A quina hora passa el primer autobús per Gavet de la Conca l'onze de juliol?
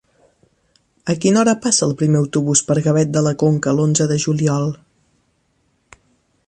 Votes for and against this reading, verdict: 2, 0, accepted